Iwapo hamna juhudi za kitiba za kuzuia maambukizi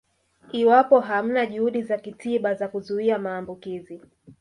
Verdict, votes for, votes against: accepted, 4, 0